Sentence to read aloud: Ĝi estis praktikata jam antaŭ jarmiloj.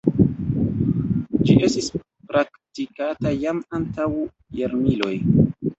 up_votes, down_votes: 1, 3